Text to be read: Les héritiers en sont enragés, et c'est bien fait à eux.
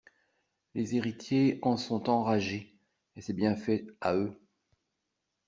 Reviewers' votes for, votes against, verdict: 2, 0, accepted